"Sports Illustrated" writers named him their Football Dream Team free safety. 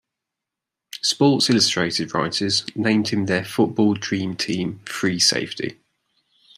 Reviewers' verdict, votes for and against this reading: rejected, 1, 2